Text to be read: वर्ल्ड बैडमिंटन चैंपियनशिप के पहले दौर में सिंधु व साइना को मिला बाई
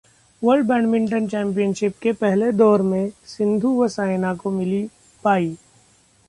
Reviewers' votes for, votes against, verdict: 1, 2, rejected